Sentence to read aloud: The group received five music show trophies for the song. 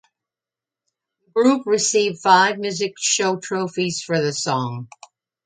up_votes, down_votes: 2, 0